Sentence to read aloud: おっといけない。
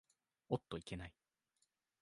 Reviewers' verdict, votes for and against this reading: rejected, 1, 2